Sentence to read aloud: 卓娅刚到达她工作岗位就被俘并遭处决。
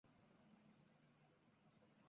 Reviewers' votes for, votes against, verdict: 0, 3, rejected